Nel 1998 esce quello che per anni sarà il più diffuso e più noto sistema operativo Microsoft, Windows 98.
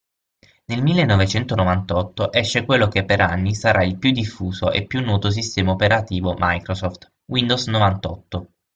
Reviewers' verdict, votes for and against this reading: rejected, 0, 2